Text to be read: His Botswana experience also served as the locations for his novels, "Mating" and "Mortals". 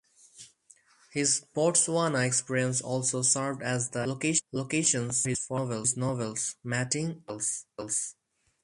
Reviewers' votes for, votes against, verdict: 0, 4, rejected